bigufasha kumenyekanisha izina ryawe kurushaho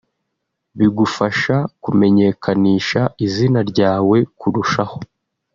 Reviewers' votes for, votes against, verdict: 2, 0, accepted